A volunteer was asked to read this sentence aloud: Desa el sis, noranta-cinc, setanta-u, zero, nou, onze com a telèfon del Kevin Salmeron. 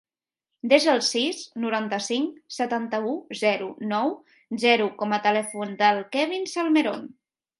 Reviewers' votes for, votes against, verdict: 0, 2, rejected